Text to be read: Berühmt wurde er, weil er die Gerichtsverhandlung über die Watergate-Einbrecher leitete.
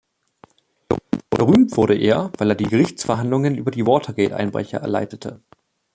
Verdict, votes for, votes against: accepted, 2, 1